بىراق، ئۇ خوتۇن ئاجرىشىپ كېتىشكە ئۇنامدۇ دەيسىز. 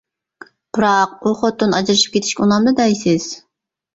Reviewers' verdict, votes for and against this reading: accepted, 2, 0